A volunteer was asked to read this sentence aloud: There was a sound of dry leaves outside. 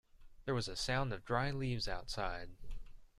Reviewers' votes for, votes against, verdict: 2, 0, accepted